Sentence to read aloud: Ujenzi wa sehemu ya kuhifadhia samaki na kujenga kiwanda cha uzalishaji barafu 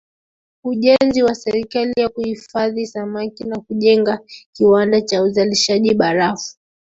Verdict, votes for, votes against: accepted, 2, 1